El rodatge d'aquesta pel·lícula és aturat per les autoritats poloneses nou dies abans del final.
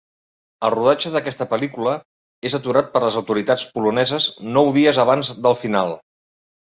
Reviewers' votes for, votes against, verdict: 2, 0, accepted